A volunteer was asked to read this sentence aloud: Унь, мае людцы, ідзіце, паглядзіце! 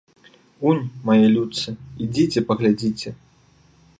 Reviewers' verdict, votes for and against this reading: accepted, 2, 0